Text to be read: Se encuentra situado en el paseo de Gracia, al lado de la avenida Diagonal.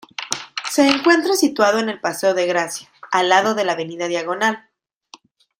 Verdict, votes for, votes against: accepted, 2, 0